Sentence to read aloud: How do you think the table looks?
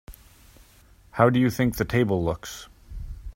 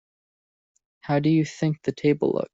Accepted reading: first